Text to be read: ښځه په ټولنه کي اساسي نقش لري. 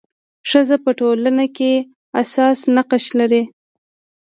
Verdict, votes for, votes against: rejected, 0, 2